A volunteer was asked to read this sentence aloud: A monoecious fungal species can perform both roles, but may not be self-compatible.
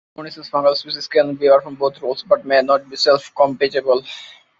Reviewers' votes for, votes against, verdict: 0, 2, rejected